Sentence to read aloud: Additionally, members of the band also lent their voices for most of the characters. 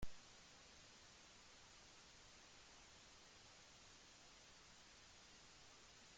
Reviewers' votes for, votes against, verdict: 0, 2, rejected